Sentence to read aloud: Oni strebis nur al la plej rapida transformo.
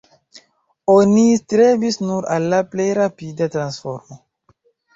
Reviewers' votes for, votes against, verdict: 0, 2, rejected